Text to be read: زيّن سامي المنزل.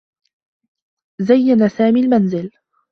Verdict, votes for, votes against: rejected, 0, 2